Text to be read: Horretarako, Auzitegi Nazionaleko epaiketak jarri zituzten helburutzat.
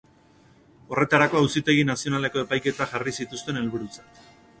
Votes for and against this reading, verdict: 2, 0, accepted